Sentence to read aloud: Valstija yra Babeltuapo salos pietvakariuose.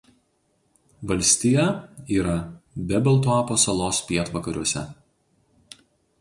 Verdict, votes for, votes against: rejected, 0, 2